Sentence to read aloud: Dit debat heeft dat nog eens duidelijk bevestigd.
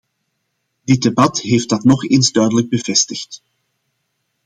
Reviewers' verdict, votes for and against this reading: accepted, 2, 0